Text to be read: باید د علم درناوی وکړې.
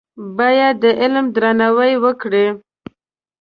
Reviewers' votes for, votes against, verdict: 2, 0, accepted